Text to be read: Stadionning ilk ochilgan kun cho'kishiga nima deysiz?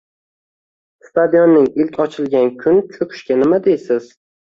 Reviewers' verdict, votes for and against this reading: accepted, 2, 0